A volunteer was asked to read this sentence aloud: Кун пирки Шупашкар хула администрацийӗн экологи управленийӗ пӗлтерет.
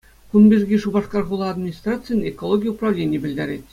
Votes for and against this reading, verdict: 2, 0, accepted